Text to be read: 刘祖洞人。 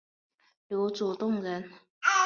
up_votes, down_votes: 2, 1